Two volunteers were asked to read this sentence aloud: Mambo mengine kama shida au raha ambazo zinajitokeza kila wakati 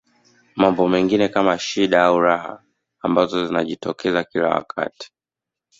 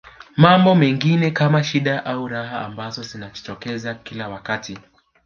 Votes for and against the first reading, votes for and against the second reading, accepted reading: 2, 0, 1, 2, first